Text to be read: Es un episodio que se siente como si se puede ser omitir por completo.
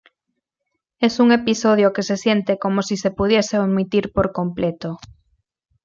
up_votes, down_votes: 1, 2